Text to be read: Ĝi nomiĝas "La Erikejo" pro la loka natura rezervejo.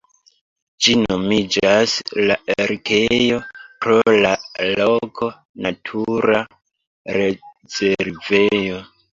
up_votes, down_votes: 0, 3